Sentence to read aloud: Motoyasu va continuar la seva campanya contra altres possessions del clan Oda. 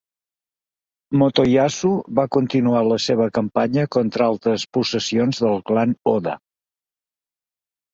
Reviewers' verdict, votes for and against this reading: accepted, 2, 0